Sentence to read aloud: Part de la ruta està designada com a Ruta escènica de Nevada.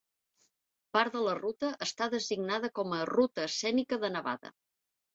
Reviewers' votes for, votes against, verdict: 1, 2, rejected